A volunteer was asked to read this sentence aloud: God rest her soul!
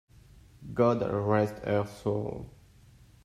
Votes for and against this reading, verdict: 2, 1, accepted